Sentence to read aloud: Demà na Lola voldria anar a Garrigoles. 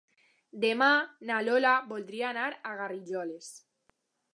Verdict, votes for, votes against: rejected, 1, 2